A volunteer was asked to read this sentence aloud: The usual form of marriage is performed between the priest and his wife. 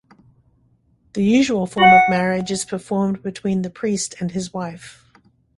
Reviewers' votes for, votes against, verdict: 2, 0, accepted